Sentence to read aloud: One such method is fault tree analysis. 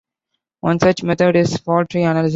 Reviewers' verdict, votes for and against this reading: rejected, 0, 2